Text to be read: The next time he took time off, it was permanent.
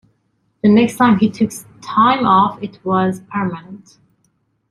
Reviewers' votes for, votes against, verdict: 1, 2, rejected